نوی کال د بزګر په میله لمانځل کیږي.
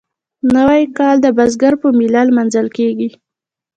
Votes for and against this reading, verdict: 2, 1, accepted